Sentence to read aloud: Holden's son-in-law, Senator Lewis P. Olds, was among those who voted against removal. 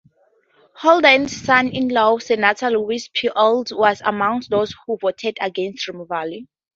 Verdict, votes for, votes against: accepted, 2, 0